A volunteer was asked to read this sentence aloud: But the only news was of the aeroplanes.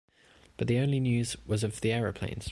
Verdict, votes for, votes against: accepted, 2, 0